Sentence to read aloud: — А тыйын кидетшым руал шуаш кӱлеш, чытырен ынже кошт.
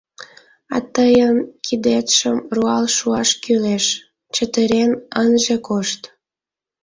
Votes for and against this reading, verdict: 2, 0, accepted